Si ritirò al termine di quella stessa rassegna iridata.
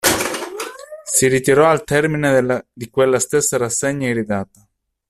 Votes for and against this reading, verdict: 0, 2, rejected